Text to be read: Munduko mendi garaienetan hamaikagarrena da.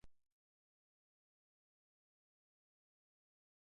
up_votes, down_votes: 0, 2